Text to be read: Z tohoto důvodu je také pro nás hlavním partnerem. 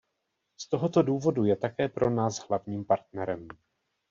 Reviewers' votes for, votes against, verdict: 2, 0, accepted